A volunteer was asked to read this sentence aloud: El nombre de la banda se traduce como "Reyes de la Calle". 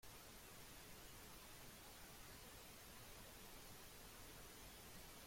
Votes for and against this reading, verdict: 0, 2, rejected